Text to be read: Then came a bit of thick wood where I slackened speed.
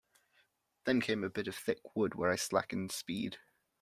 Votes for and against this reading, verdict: 2, 0, accepted